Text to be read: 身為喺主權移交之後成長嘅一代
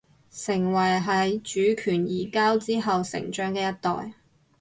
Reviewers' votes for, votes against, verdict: 0, 4, rejected